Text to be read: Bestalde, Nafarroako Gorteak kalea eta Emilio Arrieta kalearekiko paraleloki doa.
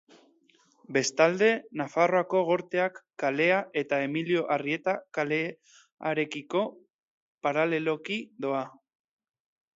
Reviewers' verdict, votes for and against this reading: accepted, 2, 0